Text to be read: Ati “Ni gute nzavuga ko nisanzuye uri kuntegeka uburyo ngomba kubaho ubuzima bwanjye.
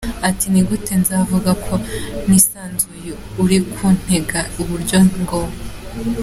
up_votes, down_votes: 0, 2